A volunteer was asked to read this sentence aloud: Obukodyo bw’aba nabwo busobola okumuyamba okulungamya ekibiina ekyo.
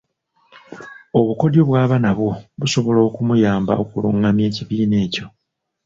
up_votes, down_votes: 2, 0